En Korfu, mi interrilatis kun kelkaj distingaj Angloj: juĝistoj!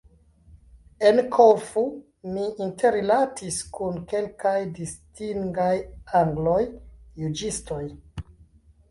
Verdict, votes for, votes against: rejected, 0, 2